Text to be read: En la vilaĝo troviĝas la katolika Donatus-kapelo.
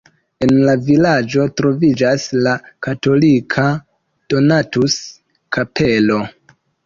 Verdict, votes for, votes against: accepted, 2, 0